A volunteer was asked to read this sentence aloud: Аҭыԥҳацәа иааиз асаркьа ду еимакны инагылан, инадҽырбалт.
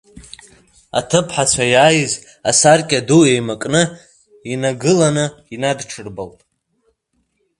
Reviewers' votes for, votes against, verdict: 3, 0, accepted